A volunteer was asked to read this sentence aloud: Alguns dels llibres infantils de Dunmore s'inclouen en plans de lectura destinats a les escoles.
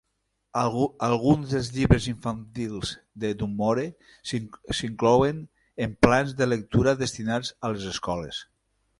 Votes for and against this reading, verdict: 0, 3, rejected